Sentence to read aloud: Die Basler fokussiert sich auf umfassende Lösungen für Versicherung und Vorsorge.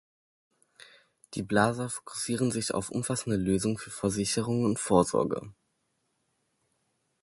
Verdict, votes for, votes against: rejected, 0, 2